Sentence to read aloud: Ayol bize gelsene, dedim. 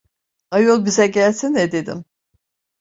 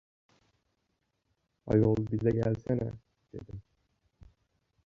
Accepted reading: first